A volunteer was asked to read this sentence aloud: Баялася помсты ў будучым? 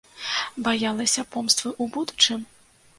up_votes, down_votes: 1, 2